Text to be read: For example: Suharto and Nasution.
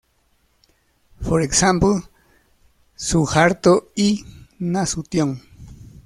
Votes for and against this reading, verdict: 0, 2, rejected